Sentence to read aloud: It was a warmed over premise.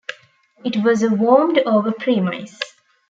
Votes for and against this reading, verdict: 1, 3, rejected